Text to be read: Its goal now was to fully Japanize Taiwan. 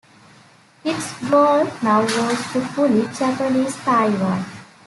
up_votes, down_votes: 2, 0